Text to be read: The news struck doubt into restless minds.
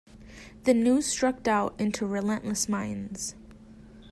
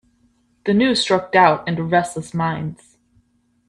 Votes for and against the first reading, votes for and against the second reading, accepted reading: 0, 2, 2, 0, second